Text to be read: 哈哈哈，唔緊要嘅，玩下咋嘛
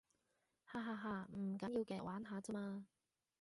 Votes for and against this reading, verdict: 0, 2, rejected